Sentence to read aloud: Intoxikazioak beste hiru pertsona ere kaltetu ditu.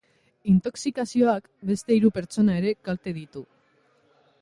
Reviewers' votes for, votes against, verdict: 1, 2, rejected